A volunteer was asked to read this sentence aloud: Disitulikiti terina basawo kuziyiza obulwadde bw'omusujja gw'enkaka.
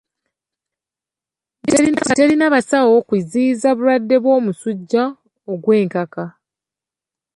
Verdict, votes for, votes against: rejected, 0, 2